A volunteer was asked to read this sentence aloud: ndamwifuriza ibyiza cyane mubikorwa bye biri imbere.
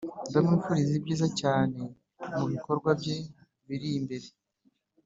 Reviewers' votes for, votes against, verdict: 2, 0, accepted